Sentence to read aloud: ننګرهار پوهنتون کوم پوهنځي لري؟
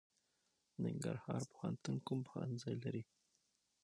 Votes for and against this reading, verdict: 6, 0, accepted